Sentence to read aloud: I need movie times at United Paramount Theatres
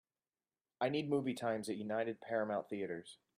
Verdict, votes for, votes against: accepted, 3, 0